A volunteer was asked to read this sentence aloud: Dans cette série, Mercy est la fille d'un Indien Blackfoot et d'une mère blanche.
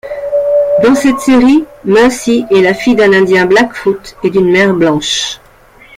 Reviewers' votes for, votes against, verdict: 2, 1, accepted